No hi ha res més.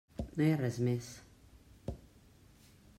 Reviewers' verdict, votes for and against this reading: accepted, 3, 0